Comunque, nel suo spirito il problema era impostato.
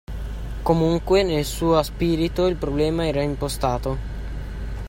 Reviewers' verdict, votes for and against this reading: accepted, 2, 1